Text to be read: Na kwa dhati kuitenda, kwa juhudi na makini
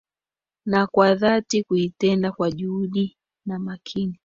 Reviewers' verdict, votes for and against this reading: accepted, 2, 1